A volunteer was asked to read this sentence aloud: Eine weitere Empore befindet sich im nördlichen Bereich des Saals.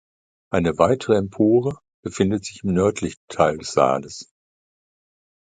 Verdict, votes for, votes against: rejected, 1, 2